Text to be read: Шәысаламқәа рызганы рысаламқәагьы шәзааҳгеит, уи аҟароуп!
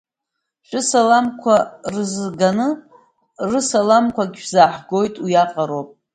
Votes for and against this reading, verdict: 0, 2, rejected